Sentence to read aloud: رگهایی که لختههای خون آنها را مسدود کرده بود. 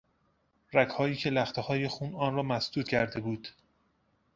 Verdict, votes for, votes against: rejected, 0, 2